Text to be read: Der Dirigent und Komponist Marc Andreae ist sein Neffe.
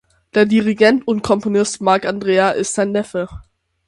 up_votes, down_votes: 6, 0